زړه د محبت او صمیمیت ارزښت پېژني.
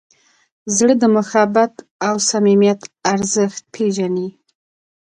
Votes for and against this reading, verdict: 2, 1, accepted